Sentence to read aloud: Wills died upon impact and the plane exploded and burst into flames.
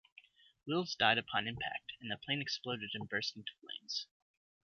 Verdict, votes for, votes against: rejected, 1, 2